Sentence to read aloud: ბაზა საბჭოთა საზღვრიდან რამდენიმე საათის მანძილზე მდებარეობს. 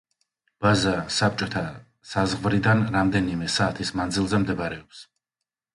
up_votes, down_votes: 2, 0